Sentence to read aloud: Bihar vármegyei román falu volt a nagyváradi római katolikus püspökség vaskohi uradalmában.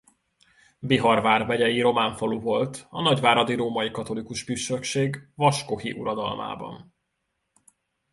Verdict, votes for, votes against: rejected, 0, 2